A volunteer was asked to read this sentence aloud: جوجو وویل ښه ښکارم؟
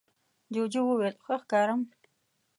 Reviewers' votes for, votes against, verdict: 2, 0, accepted